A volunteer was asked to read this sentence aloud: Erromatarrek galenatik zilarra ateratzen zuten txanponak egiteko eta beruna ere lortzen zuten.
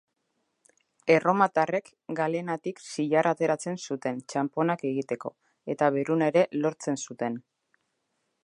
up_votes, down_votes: 2, 0